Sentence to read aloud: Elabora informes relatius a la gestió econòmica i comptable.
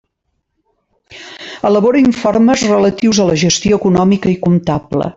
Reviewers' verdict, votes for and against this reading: accepted, 3, 0